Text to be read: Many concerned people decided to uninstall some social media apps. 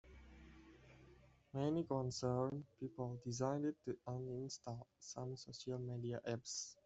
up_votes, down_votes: 2, 0